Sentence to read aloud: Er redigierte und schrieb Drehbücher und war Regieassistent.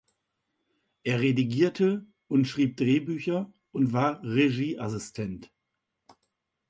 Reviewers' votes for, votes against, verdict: 2, 0, accepted